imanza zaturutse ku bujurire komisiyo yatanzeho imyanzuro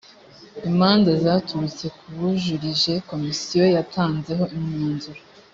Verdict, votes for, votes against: rejected, 2, 3